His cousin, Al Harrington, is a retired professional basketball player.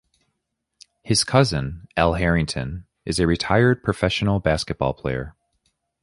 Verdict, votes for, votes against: accepted, 2, 0